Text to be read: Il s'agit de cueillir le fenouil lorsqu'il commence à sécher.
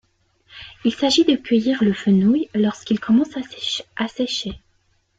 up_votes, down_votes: 0, 2